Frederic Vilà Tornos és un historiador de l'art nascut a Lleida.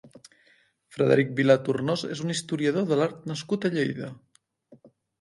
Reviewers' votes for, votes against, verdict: 2, 1, accepted